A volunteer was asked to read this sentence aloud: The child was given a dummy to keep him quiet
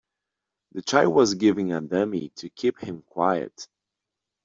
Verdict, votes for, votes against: rejected, 1, 2